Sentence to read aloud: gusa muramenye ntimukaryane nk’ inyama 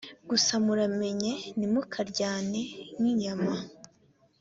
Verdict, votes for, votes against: accepted, 2, 1